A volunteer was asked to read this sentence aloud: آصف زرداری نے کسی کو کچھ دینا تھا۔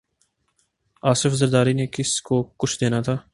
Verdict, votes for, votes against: rejected, 1, 2